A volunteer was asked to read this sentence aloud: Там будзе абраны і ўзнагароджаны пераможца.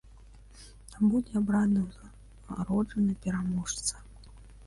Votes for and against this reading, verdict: 1, 2, rejected